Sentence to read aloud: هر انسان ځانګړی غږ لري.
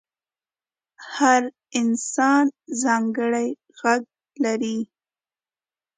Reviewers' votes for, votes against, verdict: 2, 0, accepted